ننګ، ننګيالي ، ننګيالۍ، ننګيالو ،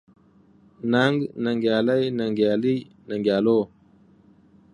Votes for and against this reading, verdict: 2, 0, accepted